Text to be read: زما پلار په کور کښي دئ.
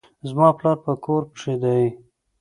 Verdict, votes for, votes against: accepted, 2, 0